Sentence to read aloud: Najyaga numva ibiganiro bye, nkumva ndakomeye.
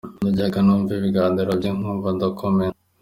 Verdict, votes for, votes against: accepted, 2, 0